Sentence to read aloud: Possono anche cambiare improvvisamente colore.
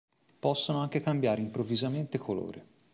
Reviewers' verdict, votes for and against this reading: accepted, 2, 0